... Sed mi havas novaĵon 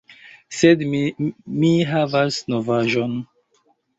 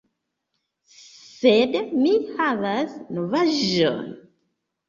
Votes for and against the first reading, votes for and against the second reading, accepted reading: 0, 2, 2, 0, second